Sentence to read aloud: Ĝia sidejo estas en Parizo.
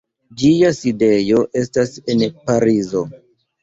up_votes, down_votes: 2, 0